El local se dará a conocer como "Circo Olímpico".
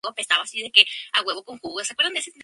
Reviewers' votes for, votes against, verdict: 0, 2, rejected